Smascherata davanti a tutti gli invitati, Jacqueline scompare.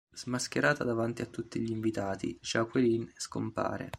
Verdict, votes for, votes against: accepted, 2, 1